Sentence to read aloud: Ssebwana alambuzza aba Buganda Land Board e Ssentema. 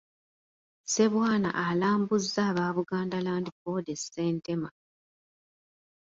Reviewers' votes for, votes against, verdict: 2, 0, accepted